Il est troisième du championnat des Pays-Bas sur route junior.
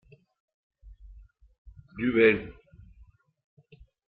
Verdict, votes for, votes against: rejected, 0, 2